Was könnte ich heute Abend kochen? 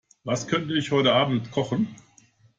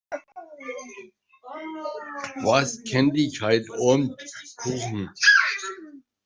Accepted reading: first